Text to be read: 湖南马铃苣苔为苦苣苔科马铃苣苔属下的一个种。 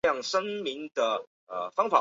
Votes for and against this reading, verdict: 0, 4, rejected